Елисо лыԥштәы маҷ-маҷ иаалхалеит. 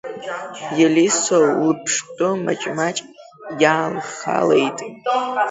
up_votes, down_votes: 0, 2